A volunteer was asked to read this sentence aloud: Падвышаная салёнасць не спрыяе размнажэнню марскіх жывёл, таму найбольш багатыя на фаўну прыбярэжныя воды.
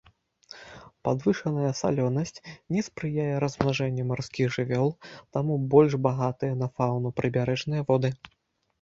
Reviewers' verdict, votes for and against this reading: rejected, 0, 2